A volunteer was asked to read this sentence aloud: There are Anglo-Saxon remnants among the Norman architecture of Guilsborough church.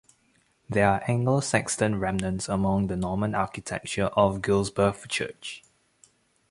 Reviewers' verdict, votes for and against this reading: accepted, 2, 0